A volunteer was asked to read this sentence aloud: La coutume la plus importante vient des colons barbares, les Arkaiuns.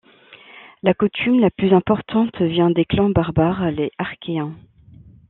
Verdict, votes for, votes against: rejected, 1, 2